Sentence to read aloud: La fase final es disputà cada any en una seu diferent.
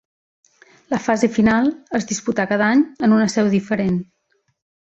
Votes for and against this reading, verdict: 3, 0, accepted